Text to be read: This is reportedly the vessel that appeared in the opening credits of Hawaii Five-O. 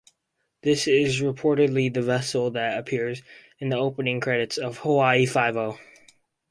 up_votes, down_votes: 2, 0